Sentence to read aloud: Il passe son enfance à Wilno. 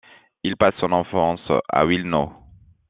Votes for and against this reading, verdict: 2, 0, accepted